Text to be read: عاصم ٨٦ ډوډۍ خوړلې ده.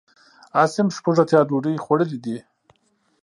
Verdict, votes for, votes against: rejected, 0, 2